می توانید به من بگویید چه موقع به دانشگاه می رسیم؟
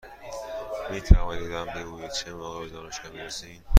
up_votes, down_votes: 2, 0